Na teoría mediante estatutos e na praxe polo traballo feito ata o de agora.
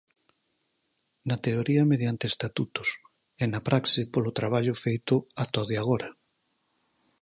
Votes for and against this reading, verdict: 4, 0, accepted